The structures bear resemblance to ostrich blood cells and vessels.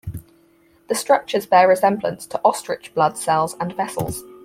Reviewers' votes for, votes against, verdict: 4, 0, accepted